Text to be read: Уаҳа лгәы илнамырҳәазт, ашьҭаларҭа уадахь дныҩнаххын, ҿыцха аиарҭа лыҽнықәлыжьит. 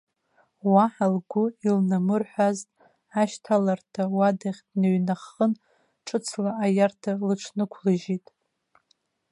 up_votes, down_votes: 0, 2